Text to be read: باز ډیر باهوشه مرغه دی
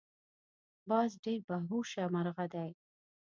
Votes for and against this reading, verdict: 2, 0, accepted